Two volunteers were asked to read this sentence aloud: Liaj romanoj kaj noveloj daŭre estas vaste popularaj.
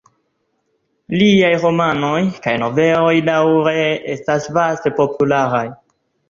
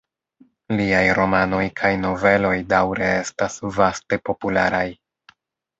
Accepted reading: second